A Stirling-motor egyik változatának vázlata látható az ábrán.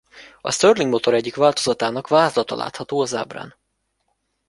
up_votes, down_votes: 1, 2